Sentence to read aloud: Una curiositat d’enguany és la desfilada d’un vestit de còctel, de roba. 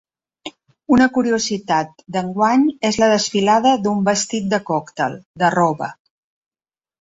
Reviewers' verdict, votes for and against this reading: accepted, 3, 0